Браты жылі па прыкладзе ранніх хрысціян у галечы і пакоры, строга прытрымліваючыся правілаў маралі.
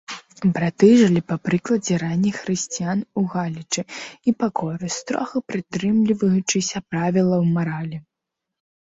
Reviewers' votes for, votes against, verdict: 0, 2, rejected